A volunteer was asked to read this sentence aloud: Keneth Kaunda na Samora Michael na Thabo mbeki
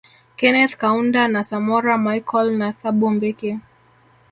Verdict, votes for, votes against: rejected, 0, 2